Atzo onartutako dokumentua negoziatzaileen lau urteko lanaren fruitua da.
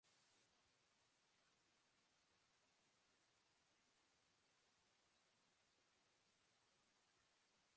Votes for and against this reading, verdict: 0, 2, rejected